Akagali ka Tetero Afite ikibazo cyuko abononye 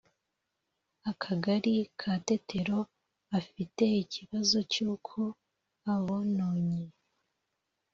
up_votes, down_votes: 2, 0